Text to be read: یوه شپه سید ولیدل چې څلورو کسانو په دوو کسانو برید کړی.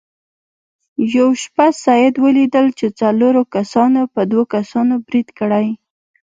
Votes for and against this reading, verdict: 2, 0, accepted